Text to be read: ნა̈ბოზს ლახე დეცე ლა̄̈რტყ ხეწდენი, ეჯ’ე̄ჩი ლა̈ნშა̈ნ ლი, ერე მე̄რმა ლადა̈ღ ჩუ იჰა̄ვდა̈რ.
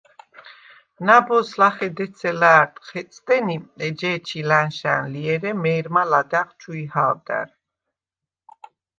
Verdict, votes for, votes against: accepted, 2, 0